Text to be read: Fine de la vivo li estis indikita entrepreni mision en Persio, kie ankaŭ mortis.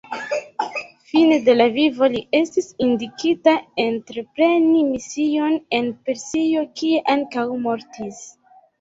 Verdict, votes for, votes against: accepted, 2, 0